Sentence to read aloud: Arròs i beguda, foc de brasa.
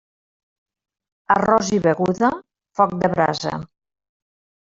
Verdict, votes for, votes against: accepted, 3, 0